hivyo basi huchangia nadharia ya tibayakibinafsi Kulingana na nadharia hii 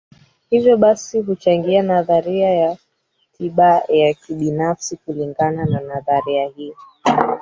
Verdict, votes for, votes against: rejected, 2, 3